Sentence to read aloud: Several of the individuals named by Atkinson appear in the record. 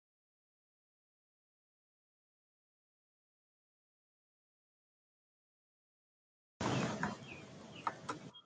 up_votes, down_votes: 0, 2